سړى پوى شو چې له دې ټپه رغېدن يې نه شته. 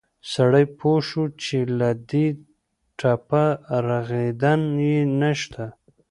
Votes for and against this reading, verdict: 2, 0, accepted